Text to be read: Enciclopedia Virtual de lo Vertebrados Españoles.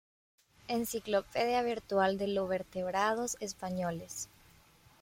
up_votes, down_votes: 2, 0